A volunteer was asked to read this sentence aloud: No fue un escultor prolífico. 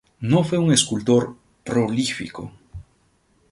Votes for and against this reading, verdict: 2, 0, accepted